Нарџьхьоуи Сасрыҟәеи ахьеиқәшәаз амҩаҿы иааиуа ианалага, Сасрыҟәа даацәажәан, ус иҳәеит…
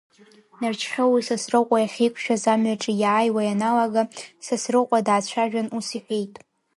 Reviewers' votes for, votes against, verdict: 2, 1, accepted